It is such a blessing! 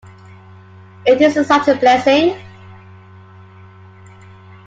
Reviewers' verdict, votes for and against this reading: rejected, 1, 2